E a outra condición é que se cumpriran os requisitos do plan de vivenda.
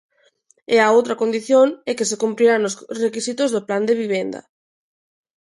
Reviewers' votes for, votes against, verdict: 0, 2, rejected